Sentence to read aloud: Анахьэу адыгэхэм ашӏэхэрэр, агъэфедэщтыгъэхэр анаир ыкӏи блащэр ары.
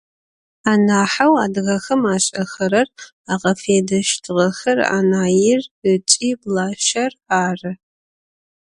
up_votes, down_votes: 2, 0